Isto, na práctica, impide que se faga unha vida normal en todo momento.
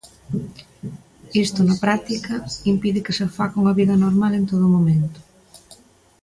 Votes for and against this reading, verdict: 1, 2, rejected